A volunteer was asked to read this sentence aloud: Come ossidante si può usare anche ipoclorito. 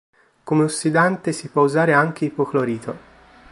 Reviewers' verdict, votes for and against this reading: accepted, 2, 0